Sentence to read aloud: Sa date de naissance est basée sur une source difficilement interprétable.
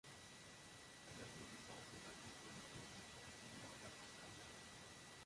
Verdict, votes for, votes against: rejected, 0, 2